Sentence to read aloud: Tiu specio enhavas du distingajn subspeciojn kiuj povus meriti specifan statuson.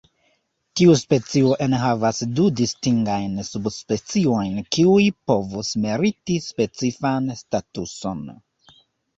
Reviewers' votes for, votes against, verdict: 1, 2, rejected